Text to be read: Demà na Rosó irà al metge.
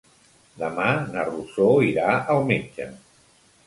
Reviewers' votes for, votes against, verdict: 2, 1, accepted